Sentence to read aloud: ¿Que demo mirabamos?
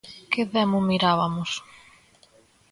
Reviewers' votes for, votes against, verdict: 0, 2, rejected